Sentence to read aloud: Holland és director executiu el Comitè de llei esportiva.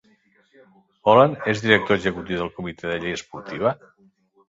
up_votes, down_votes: 1, 2